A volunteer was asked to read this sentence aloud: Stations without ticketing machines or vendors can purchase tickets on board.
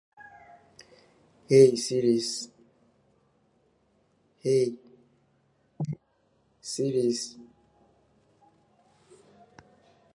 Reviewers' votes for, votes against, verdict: 0, 2, rejected